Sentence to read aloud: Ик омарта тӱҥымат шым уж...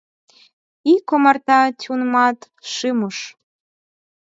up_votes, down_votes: 2, 4